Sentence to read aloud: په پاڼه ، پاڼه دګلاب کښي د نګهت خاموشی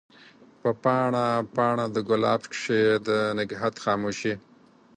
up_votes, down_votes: 4, 2